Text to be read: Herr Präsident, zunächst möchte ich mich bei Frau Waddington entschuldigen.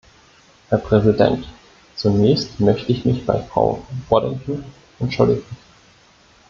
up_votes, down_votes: 1, 2